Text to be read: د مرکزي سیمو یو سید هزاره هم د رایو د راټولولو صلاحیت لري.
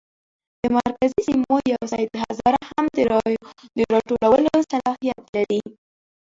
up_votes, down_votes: 0, 2